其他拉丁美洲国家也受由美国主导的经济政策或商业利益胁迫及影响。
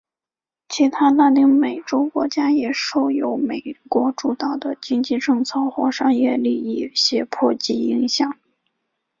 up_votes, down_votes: 5, 0